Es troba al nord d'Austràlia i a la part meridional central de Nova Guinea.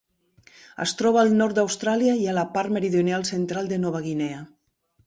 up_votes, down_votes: 3, 1